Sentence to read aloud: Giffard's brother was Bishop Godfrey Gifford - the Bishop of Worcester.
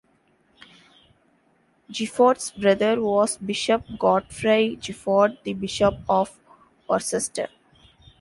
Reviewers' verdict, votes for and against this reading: accepted, 2, 1